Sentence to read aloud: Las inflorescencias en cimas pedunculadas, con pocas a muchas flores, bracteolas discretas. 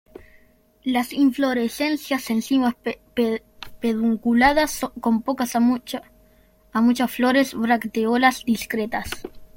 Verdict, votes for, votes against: rejected, 0, 2